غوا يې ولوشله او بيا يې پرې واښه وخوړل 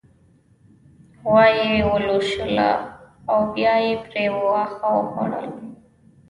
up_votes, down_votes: 1, 2